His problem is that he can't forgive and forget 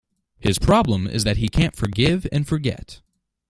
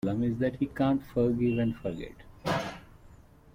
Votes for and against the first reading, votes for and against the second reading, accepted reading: 2, 0, 0, 2, first